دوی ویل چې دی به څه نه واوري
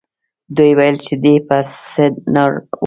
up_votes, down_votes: 0, 3